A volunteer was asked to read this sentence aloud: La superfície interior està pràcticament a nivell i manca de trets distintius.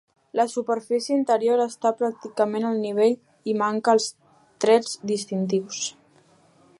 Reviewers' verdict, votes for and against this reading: rejected, 1, 2